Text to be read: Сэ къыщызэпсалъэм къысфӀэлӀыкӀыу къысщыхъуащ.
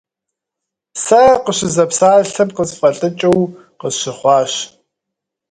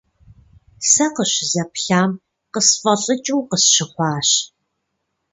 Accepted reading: first